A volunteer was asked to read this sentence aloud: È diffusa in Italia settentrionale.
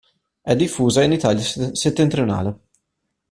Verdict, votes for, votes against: rejected, 0, 2